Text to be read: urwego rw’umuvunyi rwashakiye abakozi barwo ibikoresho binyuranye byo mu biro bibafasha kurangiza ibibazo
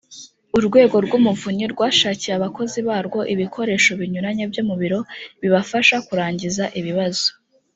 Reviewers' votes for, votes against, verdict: 2, 0, accepted